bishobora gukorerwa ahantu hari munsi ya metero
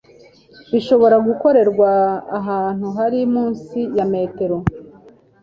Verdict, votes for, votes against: accepted, 2, 0